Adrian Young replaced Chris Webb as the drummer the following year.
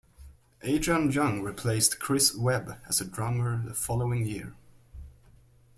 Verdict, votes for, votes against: accepted, 2, 0